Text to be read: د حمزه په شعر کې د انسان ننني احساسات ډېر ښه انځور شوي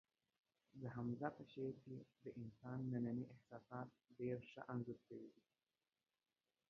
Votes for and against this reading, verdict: 0, 2, rejected